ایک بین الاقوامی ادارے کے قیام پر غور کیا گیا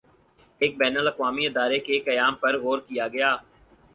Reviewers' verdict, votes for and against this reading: accepted, 4, 0